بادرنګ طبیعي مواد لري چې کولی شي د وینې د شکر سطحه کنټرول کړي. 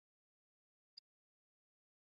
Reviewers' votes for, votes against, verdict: 0, 2, rejected